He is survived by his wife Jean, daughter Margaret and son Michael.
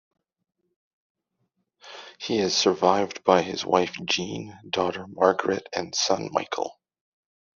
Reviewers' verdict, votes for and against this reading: accepted, 2, 0